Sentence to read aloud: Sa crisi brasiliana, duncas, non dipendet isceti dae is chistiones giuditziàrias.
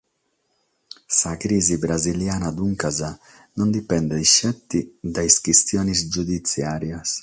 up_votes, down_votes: 3, 6